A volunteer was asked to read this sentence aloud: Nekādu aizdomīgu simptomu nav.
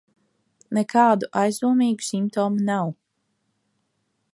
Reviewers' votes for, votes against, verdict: 2, 0, accepted